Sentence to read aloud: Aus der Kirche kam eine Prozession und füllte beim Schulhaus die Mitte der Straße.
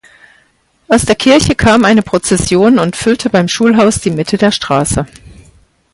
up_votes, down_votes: 2, 4